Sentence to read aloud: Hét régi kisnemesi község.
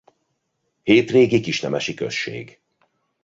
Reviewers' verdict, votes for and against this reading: accepted, 2, 0